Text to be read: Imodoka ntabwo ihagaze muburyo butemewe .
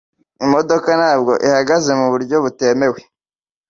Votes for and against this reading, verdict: 2, 0, accepted